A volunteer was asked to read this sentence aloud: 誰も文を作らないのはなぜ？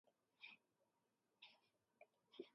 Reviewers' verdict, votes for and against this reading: rejected, 1, 2